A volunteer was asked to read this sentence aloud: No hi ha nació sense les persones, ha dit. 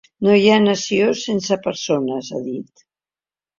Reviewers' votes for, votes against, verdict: 0, 2, rejected